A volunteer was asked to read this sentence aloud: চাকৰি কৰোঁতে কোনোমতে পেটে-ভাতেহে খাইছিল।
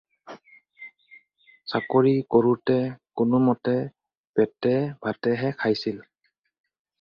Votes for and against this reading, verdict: 4, 0, accepted